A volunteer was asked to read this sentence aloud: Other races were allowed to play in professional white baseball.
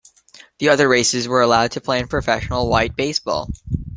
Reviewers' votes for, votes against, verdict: 0, 2, rejected